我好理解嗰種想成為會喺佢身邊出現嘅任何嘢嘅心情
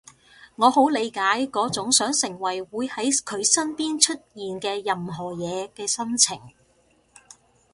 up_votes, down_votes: 2, 0